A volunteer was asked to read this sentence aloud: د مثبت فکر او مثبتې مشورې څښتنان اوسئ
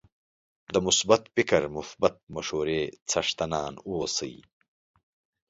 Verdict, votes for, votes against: accepted, 2, 1